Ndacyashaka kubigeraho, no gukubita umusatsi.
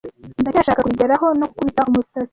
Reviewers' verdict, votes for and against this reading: rejected, 1, 2